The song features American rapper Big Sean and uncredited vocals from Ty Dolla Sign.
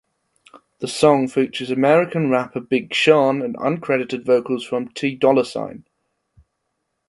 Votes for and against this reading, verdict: 1, 2, rejected